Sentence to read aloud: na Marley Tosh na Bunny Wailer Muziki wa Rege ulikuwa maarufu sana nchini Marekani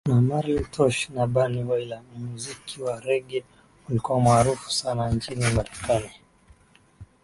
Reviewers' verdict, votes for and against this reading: accepted, 6, 1